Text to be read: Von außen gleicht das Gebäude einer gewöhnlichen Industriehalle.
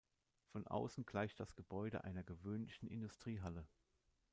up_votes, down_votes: 2, 0